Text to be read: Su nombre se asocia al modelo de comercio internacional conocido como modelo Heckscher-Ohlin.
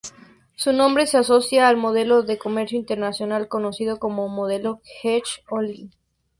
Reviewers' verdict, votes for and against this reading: accepted, 2, 0